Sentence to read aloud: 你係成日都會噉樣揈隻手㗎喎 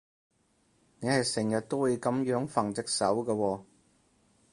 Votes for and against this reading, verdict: 2, 4, rejected